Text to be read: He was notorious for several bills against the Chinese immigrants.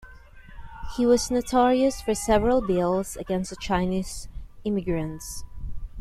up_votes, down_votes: 2, 1